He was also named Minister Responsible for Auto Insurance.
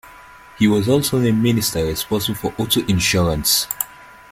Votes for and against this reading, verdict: 2, 1, accepted